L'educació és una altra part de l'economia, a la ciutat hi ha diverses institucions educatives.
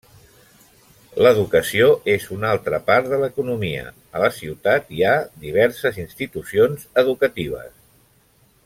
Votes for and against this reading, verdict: 1, 2, rejected